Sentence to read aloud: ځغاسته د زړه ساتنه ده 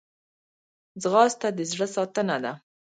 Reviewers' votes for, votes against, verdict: 1, 2, rejected